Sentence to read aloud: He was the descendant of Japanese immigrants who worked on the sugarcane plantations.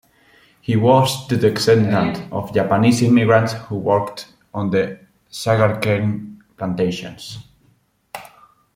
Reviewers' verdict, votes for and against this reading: rejected, 1, 2